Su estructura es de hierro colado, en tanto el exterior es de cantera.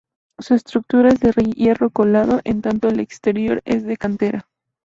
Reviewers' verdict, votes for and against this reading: rejected, 0, 2